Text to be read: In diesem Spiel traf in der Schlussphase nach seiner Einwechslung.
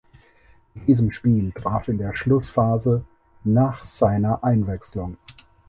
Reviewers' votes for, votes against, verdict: 0, 4, rejected